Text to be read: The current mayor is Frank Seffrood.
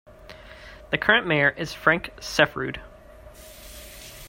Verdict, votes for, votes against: accepted, 2, 0